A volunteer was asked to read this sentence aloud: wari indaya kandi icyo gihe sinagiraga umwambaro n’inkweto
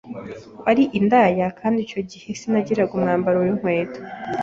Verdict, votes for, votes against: accepted, 2, 0